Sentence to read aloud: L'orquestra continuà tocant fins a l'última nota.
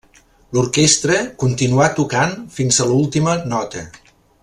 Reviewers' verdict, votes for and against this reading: accepted, 3, 0